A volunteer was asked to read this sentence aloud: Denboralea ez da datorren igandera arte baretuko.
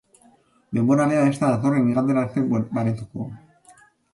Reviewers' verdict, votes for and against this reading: rejected, 1, 2